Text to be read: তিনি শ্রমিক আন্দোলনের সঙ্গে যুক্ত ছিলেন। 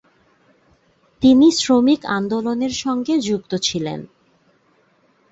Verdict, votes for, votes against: accepted, 2, 0